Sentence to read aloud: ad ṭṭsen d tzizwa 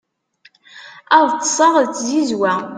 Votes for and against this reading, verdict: 0, 2, rejected